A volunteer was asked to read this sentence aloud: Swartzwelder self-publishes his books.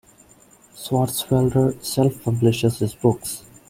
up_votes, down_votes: 2, 0